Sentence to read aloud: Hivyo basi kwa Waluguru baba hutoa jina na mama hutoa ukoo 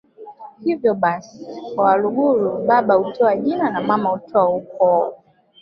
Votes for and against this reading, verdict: 0, 2, rejected